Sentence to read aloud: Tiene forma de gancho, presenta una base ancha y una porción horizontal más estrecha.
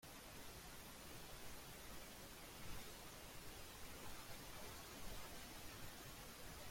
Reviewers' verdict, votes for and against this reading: rejected, 0, 2